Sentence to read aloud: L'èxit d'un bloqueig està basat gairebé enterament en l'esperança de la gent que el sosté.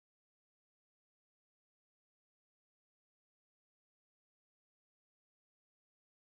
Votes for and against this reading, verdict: 0, 2, rejected